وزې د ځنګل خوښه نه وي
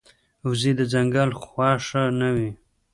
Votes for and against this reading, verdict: 1, 2, rejected